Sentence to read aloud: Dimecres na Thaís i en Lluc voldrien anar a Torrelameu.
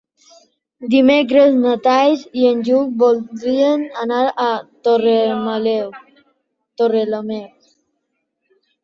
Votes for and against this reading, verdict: 0, 3, rejected